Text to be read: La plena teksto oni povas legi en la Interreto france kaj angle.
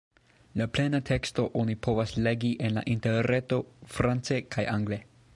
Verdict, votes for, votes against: accepted, 2, 1